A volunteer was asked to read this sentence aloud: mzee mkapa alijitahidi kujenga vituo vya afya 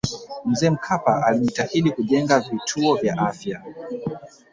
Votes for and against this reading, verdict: 2, 0, accepted